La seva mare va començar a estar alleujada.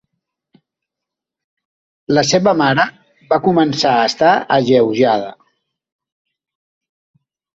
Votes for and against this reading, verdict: 3, 0, accepted